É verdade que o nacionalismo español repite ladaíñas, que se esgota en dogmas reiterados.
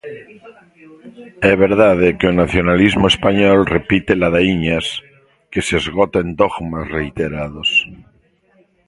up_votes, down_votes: 1, 2